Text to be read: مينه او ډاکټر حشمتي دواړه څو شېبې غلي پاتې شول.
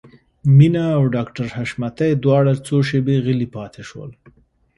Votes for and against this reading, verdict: 2, 0, accepted